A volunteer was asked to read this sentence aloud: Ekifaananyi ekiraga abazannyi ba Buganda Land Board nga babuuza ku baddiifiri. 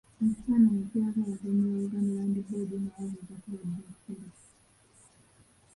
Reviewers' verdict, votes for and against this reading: rejected, 0, 3